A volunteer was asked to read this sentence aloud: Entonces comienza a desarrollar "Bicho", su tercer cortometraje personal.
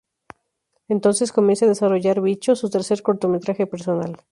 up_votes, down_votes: 2, 0